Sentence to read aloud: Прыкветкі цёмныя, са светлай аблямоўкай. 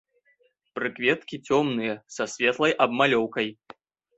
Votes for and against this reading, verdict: 0, 2, rejected